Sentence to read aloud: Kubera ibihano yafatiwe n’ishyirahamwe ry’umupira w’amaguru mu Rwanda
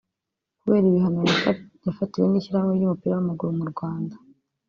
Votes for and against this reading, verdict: 0, 2, rejected